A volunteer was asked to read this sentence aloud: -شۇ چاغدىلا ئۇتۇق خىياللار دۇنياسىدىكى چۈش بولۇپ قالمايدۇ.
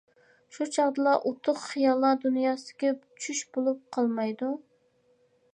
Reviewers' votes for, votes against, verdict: 2, 0, accepted